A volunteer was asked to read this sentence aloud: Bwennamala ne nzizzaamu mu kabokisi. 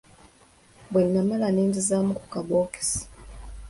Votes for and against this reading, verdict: 2, 0, accepted